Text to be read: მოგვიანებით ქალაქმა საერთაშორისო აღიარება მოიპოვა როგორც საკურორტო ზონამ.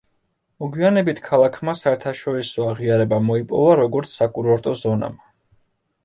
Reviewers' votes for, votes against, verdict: 1, 2, rejected